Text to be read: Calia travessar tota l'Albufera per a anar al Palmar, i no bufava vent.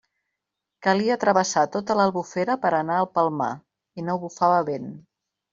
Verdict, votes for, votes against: accepted, 2, 0